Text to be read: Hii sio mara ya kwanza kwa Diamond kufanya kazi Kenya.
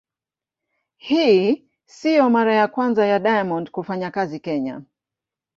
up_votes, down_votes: 1, 2